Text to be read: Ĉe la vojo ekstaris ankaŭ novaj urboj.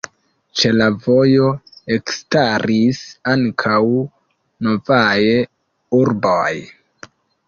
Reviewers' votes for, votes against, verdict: 2, 1, accepted